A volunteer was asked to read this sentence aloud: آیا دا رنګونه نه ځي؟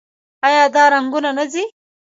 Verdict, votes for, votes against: rejected, 0, 2